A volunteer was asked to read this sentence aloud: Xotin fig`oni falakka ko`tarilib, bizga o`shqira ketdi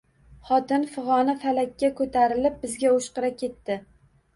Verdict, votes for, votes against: accepted, 2, 0